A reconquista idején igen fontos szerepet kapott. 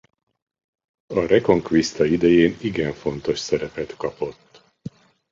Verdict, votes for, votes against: accepted, 2, 0